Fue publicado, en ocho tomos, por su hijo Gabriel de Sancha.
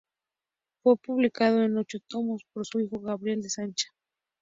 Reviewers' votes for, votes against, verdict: 2, 0, accepted